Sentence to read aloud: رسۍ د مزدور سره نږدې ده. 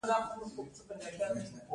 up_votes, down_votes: 2, 0